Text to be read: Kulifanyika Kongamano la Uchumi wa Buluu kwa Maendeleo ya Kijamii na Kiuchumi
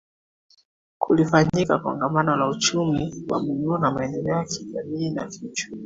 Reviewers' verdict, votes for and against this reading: accepted, 2, 1